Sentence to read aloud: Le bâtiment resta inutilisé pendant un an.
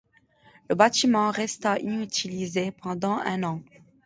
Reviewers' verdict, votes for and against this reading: accepted, 2, 0